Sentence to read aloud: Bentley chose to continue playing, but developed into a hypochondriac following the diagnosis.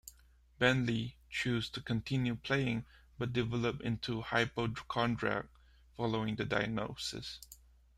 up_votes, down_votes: 1, 2